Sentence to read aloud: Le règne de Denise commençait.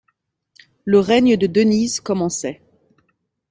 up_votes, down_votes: 2, 0